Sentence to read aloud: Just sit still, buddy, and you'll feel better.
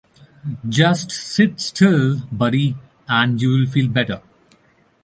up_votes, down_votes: 1, 2